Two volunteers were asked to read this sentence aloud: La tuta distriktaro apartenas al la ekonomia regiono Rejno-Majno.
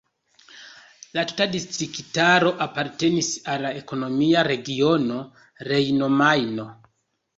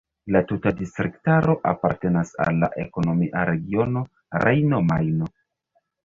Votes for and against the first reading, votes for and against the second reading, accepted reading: 2, 0, 0, 2, first